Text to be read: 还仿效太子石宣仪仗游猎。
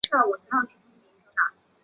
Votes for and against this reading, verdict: 3, 4, rejected